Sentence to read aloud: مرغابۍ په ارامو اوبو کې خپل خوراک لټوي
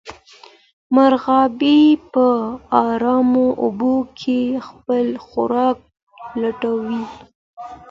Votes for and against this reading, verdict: 2, 0, accepted